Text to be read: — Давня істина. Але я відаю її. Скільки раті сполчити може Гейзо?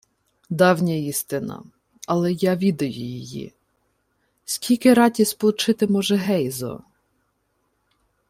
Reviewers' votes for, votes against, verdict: 2, 0, accepted